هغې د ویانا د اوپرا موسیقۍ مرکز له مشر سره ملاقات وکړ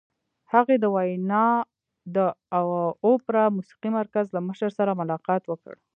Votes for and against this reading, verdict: 0, 2, rejected